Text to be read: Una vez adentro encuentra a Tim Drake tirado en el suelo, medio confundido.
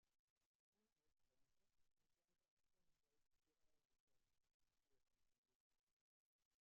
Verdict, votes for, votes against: rejected, 0, 2